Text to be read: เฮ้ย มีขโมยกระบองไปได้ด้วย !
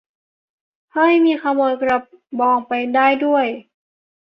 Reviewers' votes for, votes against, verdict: 2, 0, accepted